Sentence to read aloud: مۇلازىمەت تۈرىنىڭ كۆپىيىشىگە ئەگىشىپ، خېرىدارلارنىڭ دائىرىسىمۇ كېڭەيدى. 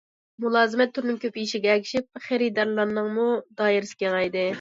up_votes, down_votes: 0, 2